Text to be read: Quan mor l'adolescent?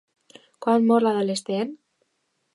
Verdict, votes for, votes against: accepted, 2, 0